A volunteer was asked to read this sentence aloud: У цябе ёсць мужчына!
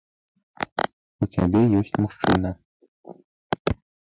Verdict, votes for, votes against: rejected, 1, 2